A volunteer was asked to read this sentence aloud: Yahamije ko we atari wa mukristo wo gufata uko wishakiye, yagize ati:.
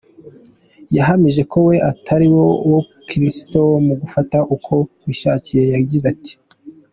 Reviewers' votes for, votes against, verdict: 3, 1, accepted